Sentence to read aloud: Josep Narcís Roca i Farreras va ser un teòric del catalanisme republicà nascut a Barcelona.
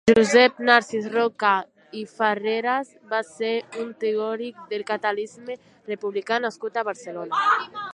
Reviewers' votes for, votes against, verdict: 0, 2, rejected